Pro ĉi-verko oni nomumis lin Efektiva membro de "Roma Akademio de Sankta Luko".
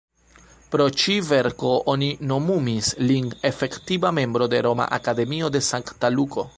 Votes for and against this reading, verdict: 2, 1, accepted